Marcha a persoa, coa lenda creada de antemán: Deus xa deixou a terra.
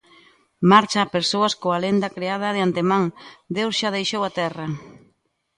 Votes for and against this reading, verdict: 0, 2, rejected